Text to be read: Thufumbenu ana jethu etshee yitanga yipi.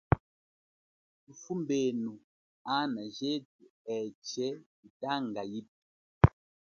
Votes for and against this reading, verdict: 3, 0, accepted